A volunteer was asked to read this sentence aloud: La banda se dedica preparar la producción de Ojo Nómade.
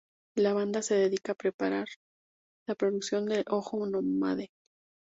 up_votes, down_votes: 2, 0